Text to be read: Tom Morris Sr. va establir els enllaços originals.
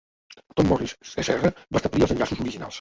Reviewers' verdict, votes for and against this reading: rejected, 0, 2